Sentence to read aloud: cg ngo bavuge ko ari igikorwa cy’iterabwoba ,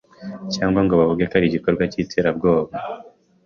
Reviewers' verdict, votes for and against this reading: accepted, 2, 0